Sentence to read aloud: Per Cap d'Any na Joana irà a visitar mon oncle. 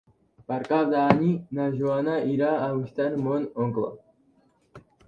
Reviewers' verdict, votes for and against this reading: rejected, 1, 3